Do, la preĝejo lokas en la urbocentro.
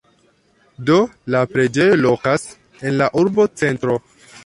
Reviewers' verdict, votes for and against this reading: rejected, 0, 2